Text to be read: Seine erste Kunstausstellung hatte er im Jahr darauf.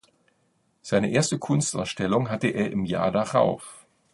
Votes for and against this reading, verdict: 2, 0, accepted